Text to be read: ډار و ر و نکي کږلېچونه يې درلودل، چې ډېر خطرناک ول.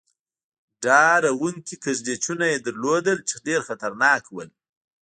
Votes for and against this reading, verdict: 1, 2, rejected